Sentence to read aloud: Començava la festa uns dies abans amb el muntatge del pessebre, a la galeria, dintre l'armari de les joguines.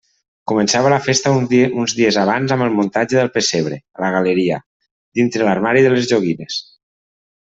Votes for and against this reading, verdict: 0, 2, rejected